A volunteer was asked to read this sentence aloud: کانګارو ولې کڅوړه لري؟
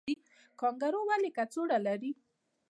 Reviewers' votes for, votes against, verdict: 2, 0, accepted